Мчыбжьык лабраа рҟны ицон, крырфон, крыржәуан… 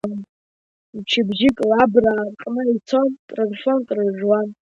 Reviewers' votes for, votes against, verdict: 2, 0, accepted